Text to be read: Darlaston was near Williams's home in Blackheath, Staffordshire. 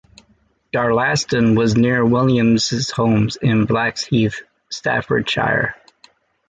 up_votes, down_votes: 1, 2